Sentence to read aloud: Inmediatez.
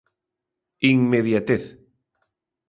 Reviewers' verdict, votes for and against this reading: accepted, 2, 0